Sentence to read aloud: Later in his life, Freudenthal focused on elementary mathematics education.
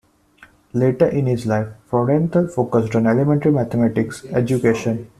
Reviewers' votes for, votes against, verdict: 2, 1, accepted